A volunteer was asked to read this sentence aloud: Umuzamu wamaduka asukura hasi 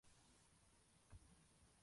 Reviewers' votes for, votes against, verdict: 0, 2, rejected